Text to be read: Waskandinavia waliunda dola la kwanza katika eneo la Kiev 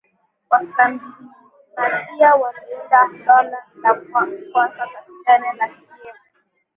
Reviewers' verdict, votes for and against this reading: rejected, 4, 7